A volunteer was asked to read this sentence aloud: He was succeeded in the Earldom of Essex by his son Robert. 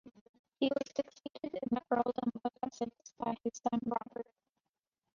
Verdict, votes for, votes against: rejected, 1, 2